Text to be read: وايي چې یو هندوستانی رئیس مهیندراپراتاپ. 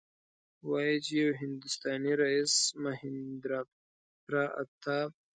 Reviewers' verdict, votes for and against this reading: accepted, 2, 0